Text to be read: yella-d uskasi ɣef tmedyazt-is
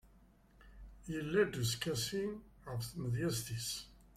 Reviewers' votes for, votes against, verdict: 2, 3, rejected